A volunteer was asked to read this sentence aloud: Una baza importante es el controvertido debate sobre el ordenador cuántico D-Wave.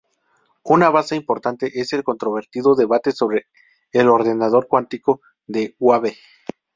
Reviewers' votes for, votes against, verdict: 2, 2, rejected